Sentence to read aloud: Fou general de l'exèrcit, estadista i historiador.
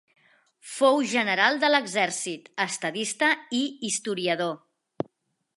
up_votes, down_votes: 2, 0